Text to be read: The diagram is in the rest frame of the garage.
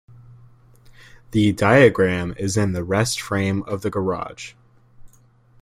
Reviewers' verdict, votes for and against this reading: accepted, 2, 0